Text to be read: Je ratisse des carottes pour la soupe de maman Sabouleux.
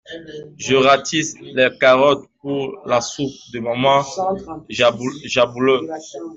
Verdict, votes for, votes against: rejected, 0, 2